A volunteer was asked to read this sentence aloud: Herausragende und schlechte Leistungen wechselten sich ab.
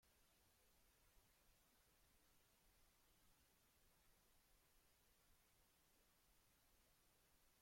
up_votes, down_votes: 0, 2